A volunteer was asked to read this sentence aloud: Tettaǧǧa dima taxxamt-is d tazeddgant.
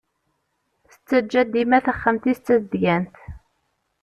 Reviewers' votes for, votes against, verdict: 2, 0, accepted